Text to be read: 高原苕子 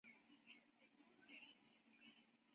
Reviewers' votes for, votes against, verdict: 0, 3, rejected